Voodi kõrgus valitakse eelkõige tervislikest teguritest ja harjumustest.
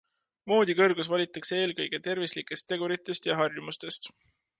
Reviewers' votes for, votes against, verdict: 2, 0, accepted